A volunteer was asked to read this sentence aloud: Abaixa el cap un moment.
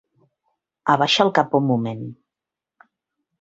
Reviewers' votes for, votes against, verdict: 3, 0, accepted